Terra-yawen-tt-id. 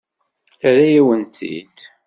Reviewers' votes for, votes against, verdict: 2, 0, accepted